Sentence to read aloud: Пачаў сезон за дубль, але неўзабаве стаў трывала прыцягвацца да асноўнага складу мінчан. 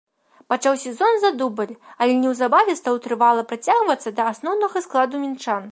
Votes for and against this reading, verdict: 2, 0, accepted